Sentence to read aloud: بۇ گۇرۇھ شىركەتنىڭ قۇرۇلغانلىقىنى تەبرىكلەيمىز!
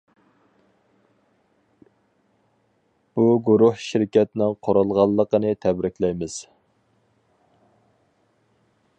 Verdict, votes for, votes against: accepted, 4, 0